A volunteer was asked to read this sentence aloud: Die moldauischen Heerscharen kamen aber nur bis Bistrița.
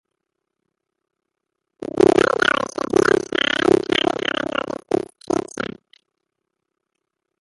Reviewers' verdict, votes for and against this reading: rejected, 0, 2